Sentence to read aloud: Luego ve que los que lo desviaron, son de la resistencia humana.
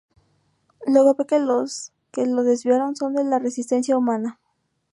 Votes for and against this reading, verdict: 0, 2, rejected